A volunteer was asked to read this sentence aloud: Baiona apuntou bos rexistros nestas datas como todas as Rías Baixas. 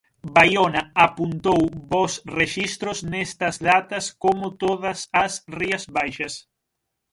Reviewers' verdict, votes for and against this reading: accepted, 6, 3